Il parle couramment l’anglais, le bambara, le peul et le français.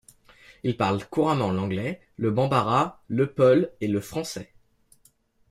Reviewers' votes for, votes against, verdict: 2, 0, accepted